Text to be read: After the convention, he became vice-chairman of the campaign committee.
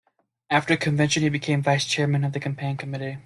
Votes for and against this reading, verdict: 1, 2, rejected